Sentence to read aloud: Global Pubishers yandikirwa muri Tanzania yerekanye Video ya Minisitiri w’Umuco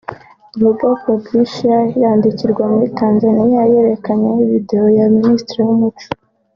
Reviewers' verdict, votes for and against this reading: accepted, 2, 0